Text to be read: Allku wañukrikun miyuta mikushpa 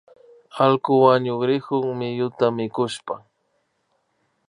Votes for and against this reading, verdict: 2, 0, accepted